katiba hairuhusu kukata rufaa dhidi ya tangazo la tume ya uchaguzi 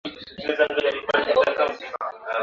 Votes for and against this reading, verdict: 0, 2, rejected